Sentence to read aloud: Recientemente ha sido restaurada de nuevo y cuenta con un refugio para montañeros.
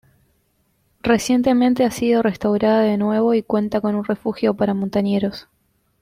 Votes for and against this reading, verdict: 2, 0, accepted